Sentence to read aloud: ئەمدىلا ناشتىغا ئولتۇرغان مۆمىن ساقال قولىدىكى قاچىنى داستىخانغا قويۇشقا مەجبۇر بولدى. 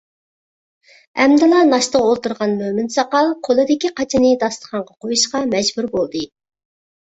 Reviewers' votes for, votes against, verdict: 2, 0, accepted